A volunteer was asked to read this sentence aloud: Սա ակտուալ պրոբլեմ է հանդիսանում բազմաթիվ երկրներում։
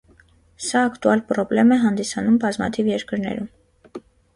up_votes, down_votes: 2, 0